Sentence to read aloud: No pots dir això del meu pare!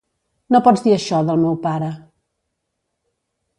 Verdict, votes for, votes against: accepted, 2, 0